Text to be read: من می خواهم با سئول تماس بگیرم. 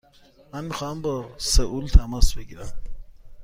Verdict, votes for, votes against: accepted, 2, 0